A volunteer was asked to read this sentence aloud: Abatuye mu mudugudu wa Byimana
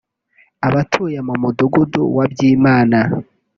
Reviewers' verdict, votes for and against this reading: accepted, 2, 0